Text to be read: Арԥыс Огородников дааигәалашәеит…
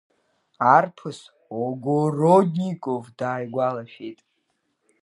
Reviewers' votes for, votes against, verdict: 2, 1, accepted